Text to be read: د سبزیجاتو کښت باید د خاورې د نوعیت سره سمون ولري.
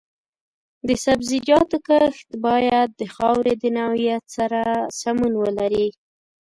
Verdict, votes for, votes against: rejected, 0, 2